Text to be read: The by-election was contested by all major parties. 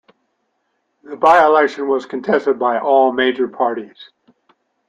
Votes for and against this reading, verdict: 2, 0, accepted